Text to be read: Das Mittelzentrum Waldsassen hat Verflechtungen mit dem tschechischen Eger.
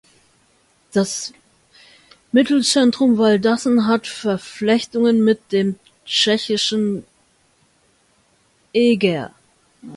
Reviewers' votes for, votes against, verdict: 1, 2, rejected